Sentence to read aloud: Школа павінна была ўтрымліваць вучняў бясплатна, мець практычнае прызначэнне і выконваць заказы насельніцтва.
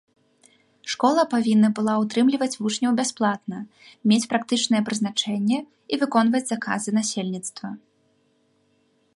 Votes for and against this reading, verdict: 2, 0, accepted